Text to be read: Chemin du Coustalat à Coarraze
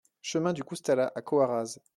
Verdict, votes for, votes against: accepted, 2, 0